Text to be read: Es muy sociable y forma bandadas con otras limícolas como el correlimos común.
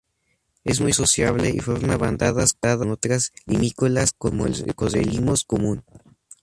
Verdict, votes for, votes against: rejected, 0, 2